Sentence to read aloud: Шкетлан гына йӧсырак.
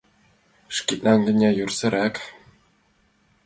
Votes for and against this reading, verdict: 1, 3, rejected